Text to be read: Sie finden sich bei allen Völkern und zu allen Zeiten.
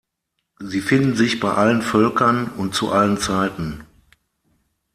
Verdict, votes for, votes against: accepted, 6, 0